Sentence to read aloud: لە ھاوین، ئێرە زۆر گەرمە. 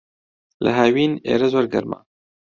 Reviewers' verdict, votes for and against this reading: accepted, 2, 0